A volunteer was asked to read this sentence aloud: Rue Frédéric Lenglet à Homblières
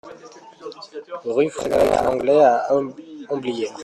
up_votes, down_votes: 0, 2